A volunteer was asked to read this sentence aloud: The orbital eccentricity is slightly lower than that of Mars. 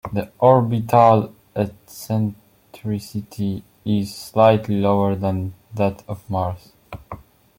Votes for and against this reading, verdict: 2, 0, accepted